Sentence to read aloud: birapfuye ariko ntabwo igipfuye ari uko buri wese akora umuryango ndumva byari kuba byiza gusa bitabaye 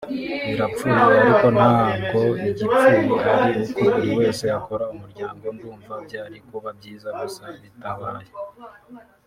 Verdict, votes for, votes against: rejected, 0, 2